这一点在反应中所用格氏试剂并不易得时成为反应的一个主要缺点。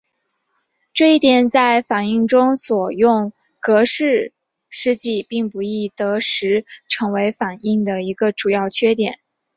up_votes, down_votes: 1, 2